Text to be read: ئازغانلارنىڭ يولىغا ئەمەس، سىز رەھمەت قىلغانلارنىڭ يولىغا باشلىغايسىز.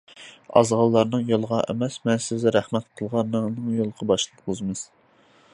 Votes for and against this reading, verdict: 0, 2, rejected